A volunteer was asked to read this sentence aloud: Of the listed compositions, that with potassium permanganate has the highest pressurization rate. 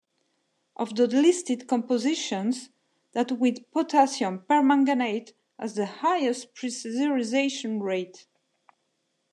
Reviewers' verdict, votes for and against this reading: rejected, 0, 2